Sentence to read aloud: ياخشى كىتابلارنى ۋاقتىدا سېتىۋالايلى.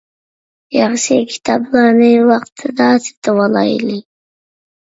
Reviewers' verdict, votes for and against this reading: accepted, 2, 0